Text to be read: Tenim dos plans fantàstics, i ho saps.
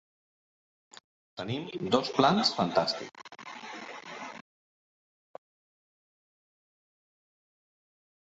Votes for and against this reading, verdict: 0, 2, rejected